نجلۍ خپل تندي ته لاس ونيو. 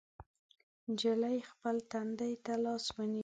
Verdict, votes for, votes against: accepted, 2, 0